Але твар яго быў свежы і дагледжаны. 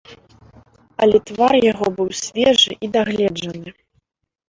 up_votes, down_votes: 0, 2